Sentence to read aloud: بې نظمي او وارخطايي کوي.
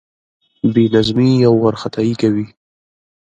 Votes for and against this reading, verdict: 2, 0, accepted